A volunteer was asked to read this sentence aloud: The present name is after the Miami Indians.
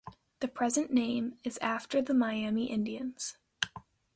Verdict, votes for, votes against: accepted, 2, 0